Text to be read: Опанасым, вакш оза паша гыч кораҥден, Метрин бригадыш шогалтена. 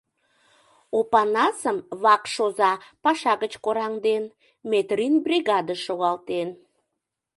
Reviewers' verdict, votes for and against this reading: rejected, 0, 3